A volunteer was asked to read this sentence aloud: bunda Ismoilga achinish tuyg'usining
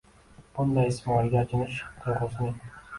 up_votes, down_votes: 1, 2